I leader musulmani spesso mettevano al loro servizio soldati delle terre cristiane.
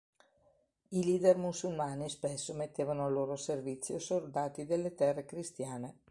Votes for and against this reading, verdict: 2, 0, accepted